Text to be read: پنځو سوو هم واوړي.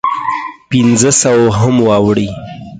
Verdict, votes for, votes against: rejected, 0, 4